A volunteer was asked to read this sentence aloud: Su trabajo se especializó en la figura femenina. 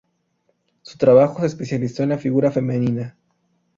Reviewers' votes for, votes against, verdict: 2, 0, accepted